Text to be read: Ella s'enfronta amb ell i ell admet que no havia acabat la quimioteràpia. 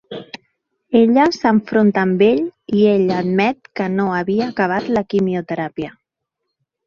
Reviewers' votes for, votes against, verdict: 1, 2, rejected